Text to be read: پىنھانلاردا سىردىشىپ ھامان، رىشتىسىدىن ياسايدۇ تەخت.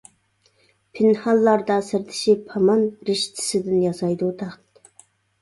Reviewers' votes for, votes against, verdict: 2, 0, accepted